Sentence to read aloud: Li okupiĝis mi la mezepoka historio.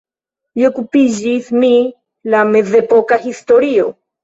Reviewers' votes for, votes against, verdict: 2, 0, accepted